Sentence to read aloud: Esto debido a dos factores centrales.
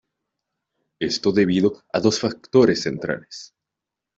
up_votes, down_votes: 2, 0